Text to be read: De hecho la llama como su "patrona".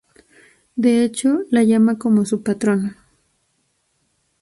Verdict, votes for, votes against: accepted, 2, 0